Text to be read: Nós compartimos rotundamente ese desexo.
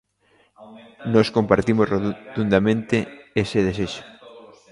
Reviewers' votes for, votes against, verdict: 0, 2, rejected